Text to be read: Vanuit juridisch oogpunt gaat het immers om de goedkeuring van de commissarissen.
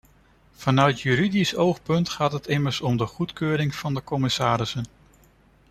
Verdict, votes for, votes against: accepted, 2, 1